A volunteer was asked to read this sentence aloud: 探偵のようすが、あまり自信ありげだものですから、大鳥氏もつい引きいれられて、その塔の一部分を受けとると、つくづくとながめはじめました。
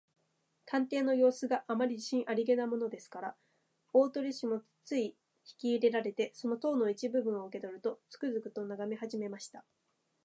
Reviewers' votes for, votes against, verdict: 2, 0, accepted